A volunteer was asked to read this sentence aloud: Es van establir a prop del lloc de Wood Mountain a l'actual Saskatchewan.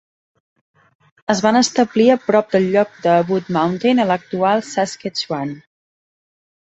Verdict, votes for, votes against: accepted, 2, 0